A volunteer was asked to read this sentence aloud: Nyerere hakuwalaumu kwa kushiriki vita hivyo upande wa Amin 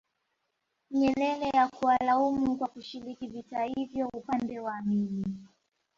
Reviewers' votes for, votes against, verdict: 1, 2, rejected